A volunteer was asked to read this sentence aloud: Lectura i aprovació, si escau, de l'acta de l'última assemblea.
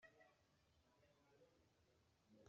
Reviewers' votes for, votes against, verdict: 0, 2, rejected